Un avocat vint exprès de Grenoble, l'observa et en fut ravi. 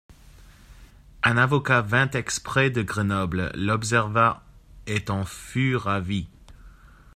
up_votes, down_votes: 1, 2